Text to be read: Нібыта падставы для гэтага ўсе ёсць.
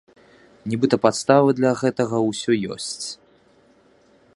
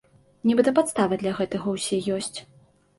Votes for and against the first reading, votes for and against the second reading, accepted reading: 1, 2, 2, 0, second